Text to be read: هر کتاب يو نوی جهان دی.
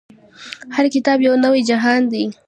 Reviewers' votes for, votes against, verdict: 2, 0, accepted